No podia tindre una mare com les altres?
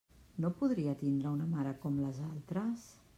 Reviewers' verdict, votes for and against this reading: rejected, 0, 2